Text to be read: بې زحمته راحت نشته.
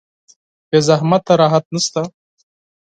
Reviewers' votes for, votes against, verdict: 4, 0, accepted